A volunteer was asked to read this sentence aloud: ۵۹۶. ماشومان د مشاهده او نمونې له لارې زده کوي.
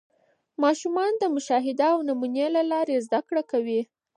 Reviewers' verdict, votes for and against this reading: rejected, 0, 2